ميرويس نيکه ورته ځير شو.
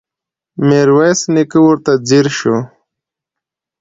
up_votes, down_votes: 2, 0